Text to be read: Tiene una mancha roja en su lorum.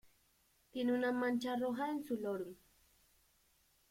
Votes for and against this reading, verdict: 2, 1, accepted